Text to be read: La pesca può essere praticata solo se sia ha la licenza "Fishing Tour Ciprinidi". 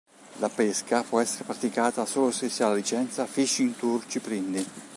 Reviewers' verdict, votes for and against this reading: accepted, 3, 1